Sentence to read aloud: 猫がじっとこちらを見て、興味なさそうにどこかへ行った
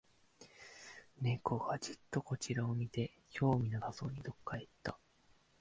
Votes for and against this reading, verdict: 0, 2, rejected